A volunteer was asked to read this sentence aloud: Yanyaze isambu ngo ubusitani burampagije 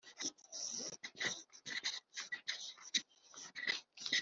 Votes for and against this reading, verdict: 0, 2, rejected